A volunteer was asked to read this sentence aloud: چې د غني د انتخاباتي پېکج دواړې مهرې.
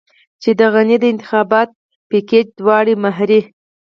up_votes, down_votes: 2, 4